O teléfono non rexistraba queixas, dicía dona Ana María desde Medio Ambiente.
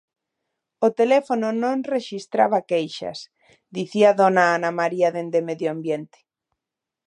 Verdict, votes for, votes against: rejected, 1, 2